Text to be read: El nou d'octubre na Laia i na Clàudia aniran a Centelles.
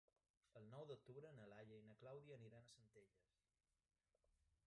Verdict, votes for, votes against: rejected, 1, 2